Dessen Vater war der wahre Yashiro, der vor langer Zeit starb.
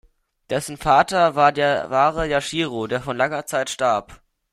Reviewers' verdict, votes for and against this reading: accepted, 2, 0